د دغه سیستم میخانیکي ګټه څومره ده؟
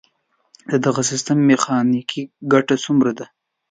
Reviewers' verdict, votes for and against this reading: accepted, 2, 0